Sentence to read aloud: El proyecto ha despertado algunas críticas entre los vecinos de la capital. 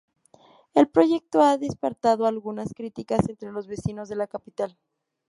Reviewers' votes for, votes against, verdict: 0, 2, rejected